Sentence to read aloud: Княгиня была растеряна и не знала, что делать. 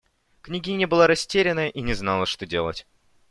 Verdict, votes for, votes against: accepted, 2, 0